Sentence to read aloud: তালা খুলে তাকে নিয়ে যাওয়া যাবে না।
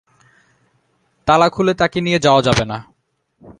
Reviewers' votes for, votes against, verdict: 2, 0, accepted